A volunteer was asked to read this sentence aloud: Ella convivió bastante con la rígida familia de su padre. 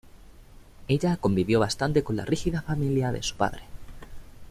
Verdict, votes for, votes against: accepted, 2, 0